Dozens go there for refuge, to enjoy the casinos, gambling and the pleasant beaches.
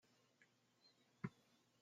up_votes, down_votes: 0, 2